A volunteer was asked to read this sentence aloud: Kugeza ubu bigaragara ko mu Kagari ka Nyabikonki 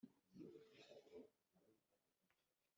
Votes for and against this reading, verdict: 0, 2, rejected